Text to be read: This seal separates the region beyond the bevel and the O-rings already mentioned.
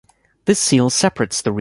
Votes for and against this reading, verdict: 0, 2, rejected